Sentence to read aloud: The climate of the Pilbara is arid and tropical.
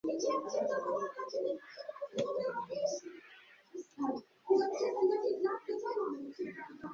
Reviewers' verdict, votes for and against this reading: rejected, 0, 2